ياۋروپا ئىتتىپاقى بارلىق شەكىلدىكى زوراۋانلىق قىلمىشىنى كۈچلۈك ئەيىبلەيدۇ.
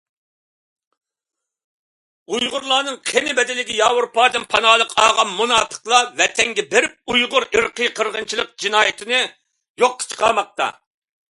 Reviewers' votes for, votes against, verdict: 0, 2, rejected